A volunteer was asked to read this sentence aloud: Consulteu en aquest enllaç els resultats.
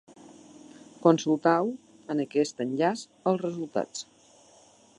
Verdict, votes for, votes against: rejected, 0, 2